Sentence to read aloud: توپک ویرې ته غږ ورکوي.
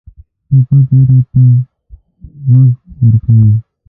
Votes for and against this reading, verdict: 1, 2, rejected